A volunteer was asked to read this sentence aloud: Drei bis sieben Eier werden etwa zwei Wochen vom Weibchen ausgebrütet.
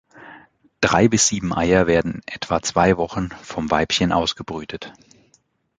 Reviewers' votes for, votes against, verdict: 2, 0, accepted